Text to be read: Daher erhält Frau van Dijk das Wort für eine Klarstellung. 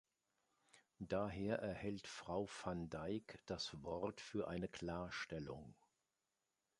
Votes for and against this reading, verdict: 2, 0, accepted